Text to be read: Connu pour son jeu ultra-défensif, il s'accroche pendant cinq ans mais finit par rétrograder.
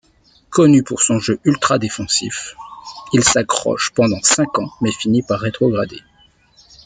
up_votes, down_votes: 2, 0